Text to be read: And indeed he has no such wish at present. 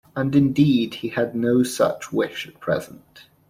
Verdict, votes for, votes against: rejected, 0, 2